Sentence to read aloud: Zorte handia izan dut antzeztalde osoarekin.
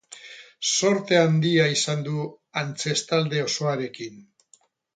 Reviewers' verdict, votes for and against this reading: rejected, 0, 2